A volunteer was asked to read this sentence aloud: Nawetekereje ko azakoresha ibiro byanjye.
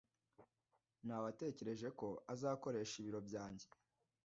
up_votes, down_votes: 2, 0